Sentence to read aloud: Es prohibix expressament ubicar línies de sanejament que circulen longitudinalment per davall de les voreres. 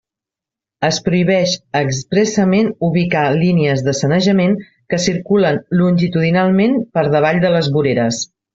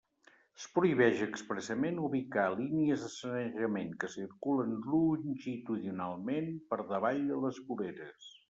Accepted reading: first